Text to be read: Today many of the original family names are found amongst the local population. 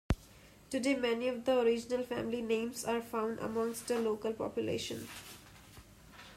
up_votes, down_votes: 2, 0